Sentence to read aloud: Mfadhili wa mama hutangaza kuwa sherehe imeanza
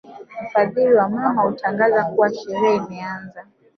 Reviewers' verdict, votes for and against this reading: rejected, 0, 2